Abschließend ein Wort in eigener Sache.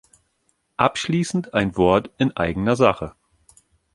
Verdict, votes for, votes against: accepted, 3, 0